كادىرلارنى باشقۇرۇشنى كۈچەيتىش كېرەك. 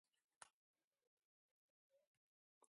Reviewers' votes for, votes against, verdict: 0, 2, rejected